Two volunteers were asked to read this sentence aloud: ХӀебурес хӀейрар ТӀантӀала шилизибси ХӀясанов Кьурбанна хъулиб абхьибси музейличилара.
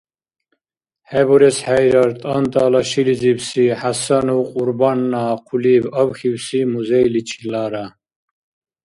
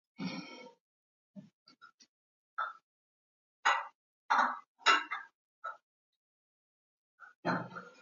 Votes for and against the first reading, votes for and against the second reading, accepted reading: 2, 0, 0, 2, first